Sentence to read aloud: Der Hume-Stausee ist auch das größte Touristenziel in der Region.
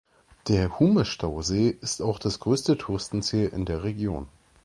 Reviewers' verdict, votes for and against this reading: accepted, 2, 0